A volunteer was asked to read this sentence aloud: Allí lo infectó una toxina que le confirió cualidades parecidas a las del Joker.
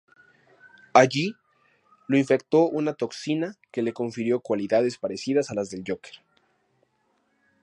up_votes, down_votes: 2, 0